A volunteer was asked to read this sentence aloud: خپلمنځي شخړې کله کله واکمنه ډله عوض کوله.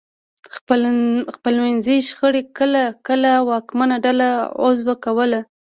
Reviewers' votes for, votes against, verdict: 1, 2, rejected